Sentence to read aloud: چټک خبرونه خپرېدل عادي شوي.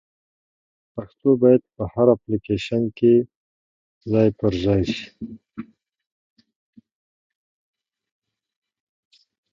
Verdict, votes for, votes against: rejected, 0, 2